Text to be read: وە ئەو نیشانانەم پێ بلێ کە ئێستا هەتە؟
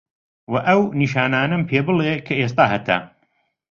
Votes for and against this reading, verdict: 2, 0, accepted